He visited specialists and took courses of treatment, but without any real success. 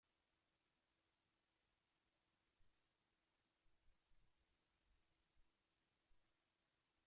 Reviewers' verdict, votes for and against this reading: rejected, 0, 2